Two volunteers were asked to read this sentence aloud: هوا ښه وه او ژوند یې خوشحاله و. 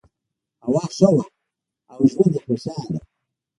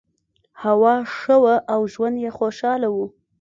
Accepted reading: second